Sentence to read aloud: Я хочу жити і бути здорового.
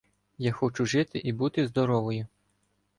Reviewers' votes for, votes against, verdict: 0, 2, rejected